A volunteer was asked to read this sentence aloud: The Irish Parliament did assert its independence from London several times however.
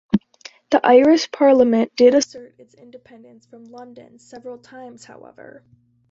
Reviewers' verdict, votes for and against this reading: rejected, 1, 2